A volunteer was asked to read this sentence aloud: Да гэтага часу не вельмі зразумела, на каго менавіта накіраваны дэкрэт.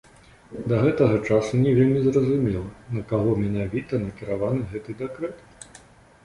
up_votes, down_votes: 1, 2